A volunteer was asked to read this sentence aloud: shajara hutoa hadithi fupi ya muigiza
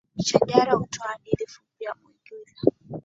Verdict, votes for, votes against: rejected, 2, 3